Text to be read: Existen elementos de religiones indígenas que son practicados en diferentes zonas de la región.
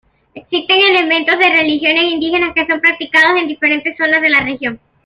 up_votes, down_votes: 2, 1